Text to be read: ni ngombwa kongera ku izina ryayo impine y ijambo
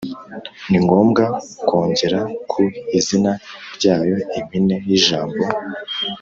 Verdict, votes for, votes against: accepted, 4, 0